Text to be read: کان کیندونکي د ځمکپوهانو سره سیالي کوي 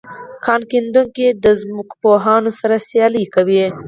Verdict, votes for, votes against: accepted, 4, 2